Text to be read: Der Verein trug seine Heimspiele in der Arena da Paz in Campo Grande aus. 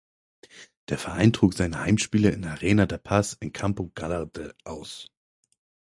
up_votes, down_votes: 0, 4